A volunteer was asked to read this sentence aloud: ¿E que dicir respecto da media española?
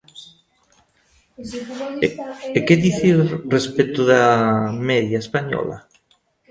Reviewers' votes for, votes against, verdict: 0, 2, rejected